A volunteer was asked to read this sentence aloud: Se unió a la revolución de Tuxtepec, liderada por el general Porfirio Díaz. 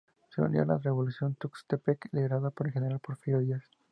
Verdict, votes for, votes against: rejected, 0, 2